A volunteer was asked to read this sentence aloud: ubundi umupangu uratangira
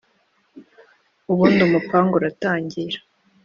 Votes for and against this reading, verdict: 2, 0, accepted